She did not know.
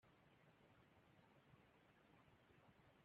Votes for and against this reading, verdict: 0, 2, rejected